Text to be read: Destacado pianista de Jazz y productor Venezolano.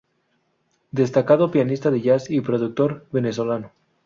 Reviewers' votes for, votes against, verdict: 2, 0, accepted